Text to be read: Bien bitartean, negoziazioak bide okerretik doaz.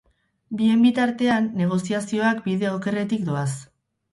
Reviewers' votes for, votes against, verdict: 2, 2, rejected